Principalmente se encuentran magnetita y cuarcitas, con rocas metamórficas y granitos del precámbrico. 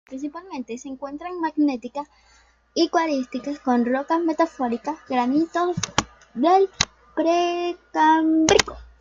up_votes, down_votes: 0, 2